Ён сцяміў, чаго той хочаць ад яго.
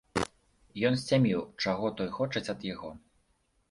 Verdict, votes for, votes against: rejected, 1, 3